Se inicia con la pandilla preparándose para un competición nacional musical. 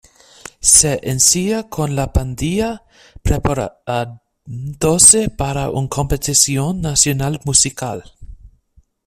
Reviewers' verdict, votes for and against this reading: rejected, 1, 2